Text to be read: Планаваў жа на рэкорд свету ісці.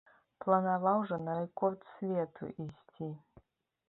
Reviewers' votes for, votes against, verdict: 1, 2, rejected